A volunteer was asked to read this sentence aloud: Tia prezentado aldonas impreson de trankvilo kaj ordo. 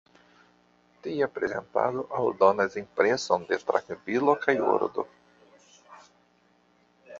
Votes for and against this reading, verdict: 3, 1, accepted